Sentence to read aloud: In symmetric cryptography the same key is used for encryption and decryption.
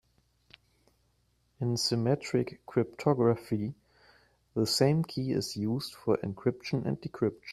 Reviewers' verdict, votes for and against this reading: rejected, 1, 2